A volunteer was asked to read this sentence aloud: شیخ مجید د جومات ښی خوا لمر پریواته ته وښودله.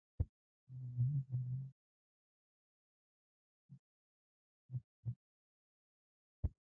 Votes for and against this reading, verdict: 1, 2, rejected